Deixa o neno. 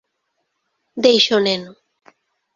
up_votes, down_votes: 2, 0